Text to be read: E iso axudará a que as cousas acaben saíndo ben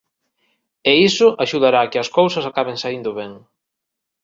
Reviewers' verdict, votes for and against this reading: accepted, 2, 0